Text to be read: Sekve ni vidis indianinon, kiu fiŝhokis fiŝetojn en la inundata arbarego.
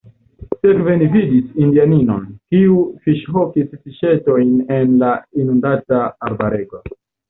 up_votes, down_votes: 1, 2